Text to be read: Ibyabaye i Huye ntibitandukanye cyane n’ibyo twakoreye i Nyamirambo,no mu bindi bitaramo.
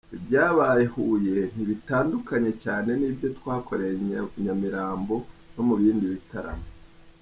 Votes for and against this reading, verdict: 1, 2, rejected